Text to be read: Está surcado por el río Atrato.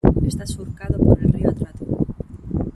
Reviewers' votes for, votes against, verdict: 1, 2, rejected